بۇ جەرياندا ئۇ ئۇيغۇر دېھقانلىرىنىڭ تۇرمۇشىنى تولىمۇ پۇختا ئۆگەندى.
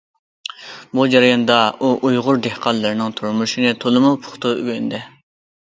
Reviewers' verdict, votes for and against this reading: accepted, 2, 0